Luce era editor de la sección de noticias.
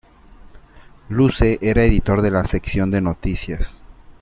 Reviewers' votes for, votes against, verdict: 2, 0, accepted